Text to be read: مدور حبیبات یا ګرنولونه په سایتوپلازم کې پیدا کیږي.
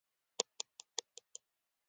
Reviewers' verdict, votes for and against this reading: rejected, 0, 2